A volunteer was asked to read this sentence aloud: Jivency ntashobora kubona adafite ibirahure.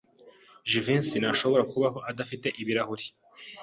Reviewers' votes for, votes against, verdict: 1, 2, rejected